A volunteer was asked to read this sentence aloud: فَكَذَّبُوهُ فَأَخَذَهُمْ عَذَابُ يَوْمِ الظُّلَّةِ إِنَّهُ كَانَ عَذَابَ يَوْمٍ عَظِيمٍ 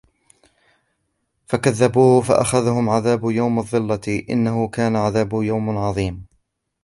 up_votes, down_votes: 0, 2